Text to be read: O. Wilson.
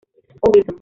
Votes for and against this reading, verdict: 0, 2, rejected